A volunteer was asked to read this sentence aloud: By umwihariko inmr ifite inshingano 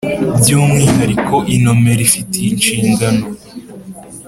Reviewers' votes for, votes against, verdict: 3, 0, accepted